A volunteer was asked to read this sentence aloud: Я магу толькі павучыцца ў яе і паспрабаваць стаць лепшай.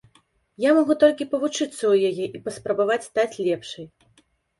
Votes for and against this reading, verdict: 2, 0, accepted